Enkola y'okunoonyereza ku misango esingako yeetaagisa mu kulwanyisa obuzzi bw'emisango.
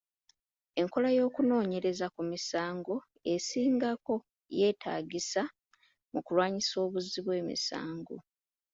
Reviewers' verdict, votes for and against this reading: rejected, 0, 2